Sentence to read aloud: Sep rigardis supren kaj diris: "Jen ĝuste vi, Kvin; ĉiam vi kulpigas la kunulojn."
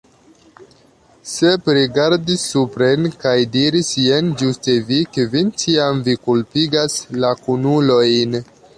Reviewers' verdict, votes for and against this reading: accepted, 3, 0